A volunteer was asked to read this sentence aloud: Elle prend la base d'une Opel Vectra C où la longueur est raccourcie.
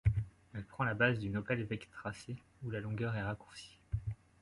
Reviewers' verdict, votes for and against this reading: accepted, 2, 0